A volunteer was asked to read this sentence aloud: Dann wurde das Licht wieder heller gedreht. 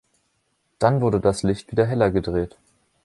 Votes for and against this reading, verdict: 0, 2, rejected